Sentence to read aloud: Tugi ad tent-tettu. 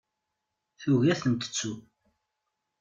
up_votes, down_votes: 2, 0